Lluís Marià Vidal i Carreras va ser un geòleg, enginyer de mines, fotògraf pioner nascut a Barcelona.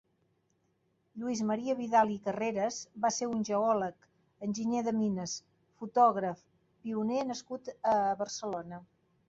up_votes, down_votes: 3, 0